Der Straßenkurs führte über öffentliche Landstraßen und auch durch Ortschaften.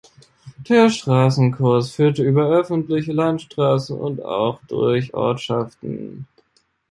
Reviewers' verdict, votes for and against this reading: rejected, 1, 2